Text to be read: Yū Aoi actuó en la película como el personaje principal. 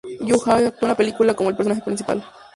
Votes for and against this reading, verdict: 2, 0, accepted